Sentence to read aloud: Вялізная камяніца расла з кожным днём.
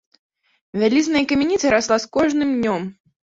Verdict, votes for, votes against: accepted, 2, 1